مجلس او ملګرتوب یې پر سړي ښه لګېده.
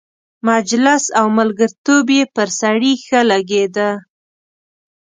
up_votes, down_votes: 2, 0